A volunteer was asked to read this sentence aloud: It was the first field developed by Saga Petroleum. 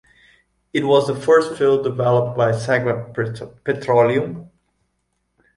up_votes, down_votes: 0, 2